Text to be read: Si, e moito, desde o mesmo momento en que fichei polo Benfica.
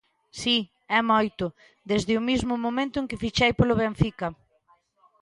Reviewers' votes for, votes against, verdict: 1, 3, rejected